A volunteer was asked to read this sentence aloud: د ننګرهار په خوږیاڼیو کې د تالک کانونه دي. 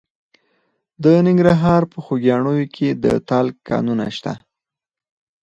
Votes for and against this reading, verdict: 2, 4, rejected